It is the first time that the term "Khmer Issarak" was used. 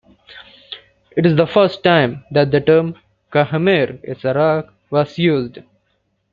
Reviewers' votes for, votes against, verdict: 2, 1, accepted